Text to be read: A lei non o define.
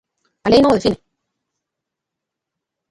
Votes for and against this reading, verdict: 0, 2, rejected